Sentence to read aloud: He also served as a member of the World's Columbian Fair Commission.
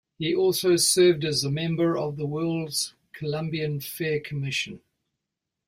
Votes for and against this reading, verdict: 2, 0, accepted